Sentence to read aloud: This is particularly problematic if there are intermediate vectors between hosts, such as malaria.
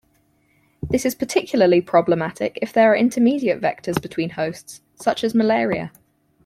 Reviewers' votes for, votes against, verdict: 4, 0, accepted